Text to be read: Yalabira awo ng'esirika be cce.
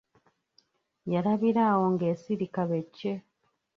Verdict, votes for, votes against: rejected, 1, 2